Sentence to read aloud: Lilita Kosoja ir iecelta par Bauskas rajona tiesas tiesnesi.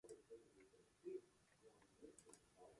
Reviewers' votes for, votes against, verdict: 0, 2, rejected